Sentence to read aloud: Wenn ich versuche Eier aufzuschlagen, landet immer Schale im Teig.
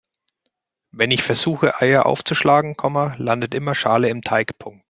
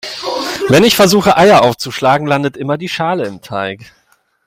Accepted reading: second